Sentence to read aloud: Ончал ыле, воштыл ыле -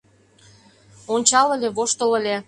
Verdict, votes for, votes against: accepted, 2, 0